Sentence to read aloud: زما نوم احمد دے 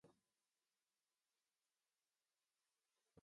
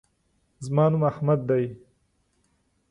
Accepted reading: second